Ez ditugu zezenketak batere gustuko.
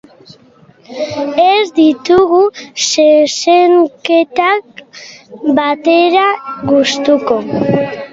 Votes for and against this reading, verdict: 0, 2, rejected